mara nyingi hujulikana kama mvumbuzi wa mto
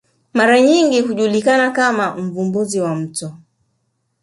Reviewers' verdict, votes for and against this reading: accepted, 2, 0